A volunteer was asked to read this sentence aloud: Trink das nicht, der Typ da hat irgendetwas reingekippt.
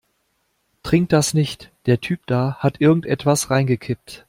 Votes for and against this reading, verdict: 2, 0, accepted